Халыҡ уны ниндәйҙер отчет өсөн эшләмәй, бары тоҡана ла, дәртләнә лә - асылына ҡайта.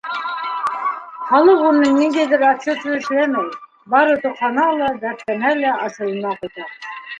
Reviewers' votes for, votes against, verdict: 0, 2, rejected